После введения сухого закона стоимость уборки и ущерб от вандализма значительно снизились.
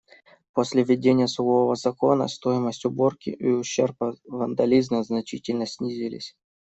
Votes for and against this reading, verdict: 2, 1, accepted